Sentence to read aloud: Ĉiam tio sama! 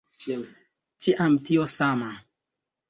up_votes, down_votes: 1, 2